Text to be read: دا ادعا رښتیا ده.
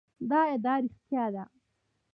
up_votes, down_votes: 1, 2